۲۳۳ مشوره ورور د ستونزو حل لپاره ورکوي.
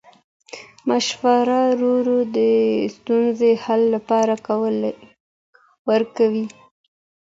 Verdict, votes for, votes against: rejected, 0, 2